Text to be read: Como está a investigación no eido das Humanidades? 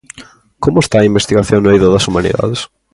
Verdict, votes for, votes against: accepted, 2, 0